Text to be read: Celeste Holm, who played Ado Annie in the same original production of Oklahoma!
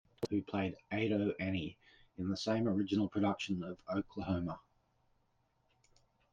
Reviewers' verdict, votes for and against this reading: rejected, 0, 2